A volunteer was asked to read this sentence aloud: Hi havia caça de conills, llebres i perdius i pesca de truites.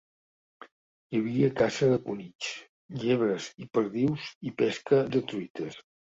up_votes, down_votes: 3, 0